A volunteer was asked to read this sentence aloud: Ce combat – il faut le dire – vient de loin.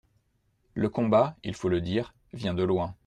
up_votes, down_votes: 0, 2